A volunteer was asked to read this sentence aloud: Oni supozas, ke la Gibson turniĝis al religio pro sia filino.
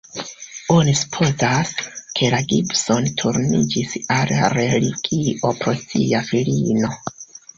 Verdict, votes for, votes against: rejected, 0, 2